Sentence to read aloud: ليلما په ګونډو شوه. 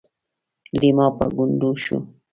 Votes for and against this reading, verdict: 1, 2, rejected